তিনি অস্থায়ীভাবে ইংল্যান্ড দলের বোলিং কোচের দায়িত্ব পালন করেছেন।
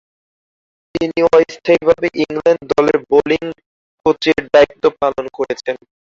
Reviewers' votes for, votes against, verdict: 0, 2, rejected